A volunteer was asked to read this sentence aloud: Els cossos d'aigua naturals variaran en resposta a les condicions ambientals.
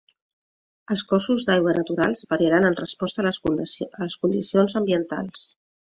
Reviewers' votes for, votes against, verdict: 0, 2, rejected